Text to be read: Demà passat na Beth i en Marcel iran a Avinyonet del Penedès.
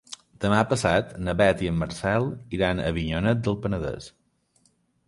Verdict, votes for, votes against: accepted, 3, 0